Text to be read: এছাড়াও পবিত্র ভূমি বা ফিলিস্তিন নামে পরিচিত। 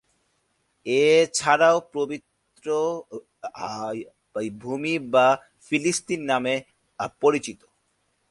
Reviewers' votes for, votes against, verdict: 0, 3, rejected